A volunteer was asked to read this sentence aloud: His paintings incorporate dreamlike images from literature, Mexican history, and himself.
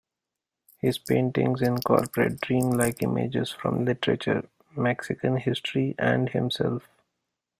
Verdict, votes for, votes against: accepted, 2, 0